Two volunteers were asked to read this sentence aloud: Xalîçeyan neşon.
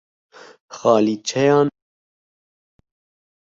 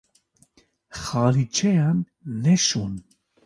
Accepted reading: second